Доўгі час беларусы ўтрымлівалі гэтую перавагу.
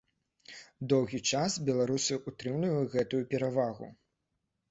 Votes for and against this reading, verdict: 2, 0, accepted